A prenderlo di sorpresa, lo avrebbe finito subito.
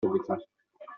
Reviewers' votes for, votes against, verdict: 0, 2, rejected